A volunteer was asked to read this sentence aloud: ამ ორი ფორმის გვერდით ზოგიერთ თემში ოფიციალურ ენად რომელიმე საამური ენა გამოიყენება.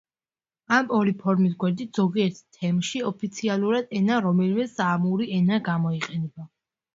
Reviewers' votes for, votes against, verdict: 3, 1, accepted